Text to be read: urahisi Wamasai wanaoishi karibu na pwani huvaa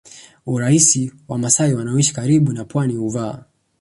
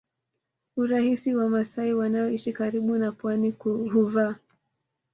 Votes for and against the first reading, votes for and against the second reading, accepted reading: 2, 0, 0, 2, first